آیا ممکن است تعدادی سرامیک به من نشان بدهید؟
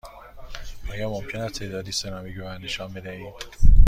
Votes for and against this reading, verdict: 2, 0, accepted